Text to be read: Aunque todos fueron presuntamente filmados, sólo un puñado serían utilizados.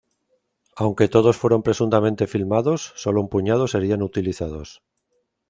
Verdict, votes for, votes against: accepted, 2, 0